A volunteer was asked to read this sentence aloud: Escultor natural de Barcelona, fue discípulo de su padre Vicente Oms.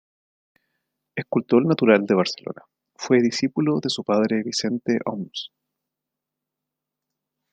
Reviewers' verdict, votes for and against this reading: accepted, 2, 0